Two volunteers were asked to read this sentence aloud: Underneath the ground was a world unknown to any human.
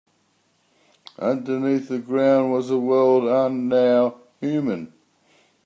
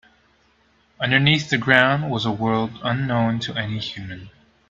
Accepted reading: second